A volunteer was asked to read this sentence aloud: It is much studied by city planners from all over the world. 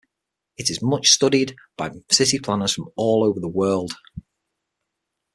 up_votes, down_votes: 6, 0